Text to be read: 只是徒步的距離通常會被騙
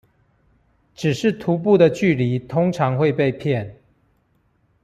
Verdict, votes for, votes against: accepted, 2, 0